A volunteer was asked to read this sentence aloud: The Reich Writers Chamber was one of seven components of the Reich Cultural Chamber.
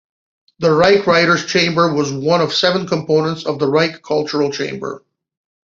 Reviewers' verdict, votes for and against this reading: accepted, 2, 0